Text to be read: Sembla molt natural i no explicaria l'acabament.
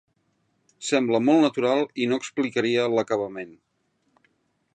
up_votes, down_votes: 3, 0